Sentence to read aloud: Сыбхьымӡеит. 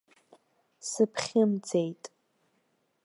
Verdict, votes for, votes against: accepted, 2, 0